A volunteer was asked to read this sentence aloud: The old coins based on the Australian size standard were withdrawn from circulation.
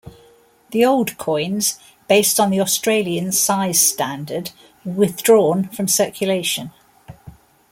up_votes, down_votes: 0, 2